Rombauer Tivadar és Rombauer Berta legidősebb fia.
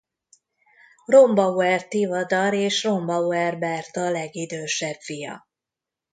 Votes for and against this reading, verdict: 1, 2, rejected